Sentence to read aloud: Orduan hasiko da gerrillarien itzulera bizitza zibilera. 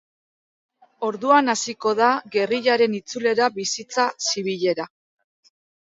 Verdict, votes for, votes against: rejected, 0, 2